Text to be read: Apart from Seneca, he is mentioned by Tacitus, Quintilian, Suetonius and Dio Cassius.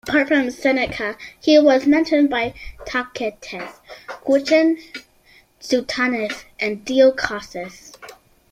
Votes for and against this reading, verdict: 0, 2, rejected